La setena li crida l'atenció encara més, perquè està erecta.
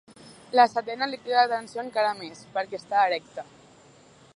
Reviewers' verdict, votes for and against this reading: accepted, 2, 0